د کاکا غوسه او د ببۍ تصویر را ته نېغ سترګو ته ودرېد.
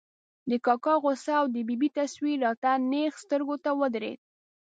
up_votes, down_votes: 0, 2